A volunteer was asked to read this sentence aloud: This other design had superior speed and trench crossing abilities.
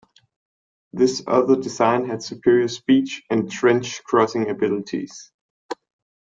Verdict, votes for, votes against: rejected, 1, 2